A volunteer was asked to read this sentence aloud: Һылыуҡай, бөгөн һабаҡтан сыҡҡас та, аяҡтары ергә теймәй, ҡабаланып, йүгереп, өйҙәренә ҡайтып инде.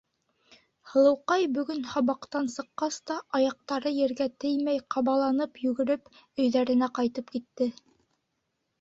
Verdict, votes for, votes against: rejected, 1, 2